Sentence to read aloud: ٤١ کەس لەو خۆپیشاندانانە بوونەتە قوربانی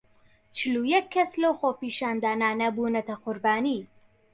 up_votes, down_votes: 0, 2